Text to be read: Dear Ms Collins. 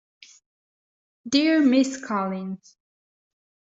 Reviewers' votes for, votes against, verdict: 2, 0, accepted